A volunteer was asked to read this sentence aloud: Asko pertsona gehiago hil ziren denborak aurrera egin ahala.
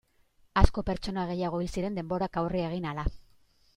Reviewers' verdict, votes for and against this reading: rejected, 0, 2